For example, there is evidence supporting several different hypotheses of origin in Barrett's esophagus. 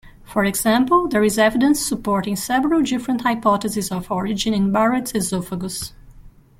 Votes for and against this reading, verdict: 1, 2, rejected